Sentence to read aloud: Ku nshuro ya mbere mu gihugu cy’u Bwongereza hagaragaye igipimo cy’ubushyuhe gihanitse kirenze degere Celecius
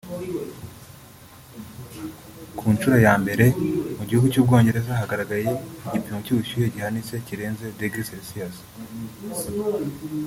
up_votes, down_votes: 0, 2